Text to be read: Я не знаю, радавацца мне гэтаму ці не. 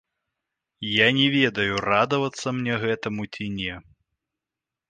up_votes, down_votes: 0, 2